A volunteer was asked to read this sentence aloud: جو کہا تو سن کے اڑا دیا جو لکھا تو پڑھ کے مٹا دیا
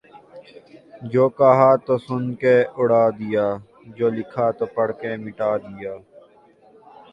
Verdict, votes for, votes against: rejected, 0, 2